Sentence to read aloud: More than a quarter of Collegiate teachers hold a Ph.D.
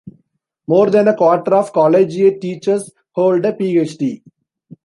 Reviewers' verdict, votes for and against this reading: rejected, 1, 2